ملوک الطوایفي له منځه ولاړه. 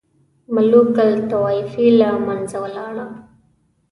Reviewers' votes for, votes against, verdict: 2, 0, accepted